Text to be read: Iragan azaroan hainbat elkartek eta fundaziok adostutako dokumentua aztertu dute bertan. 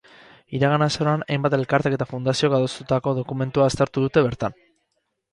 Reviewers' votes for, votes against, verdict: 0, 2, rejected